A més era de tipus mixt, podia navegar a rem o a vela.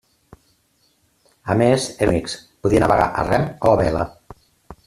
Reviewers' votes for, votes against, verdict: 0, 2, rejected